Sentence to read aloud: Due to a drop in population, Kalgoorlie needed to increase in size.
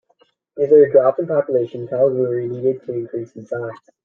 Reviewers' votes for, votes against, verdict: 1, 3, rejected